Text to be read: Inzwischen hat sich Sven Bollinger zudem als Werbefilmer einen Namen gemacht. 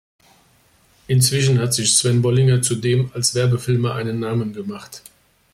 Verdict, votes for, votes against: accepted, 2, 0